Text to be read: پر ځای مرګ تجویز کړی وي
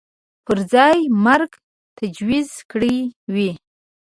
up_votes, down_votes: 4, 5